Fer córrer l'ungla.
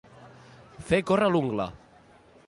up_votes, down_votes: 2, 0